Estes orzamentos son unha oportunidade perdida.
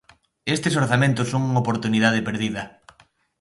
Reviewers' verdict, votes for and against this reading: accepted, 2, 0